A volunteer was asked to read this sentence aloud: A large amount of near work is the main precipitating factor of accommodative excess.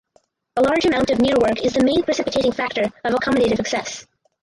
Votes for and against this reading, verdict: 2, 2, rejected